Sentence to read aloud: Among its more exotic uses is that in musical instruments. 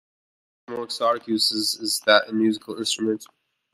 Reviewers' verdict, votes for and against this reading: rejected, 1, 2